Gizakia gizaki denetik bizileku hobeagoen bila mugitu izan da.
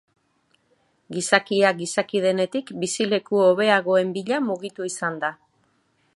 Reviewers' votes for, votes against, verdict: 3, 0, accepted